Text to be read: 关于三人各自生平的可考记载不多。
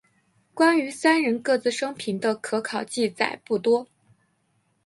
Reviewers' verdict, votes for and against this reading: accepted, 3, 1